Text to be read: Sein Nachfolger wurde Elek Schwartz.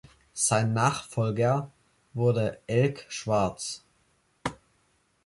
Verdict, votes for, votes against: rejected, 0, 2